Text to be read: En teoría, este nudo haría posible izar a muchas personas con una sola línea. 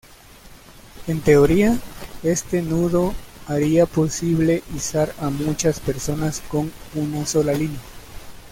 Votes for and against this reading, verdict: 2, 0, accepted